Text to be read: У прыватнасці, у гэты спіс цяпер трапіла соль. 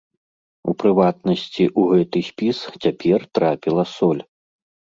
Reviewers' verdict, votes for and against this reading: accepted, 2, 0